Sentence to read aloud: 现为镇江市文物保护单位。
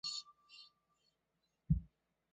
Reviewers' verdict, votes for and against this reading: rejected, 2, 3